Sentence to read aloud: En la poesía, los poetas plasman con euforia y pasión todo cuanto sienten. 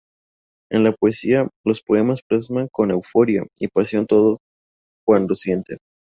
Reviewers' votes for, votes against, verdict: 0, 2, rejected